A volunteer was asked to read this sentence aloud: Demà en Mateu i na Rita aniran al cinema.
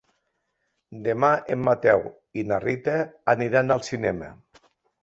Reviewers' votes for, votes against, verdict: 4, 0, accepted